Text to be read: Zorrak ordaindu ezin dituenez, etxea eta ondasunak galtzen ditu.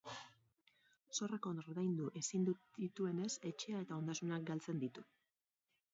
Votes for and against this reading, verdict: 0, 4, rejected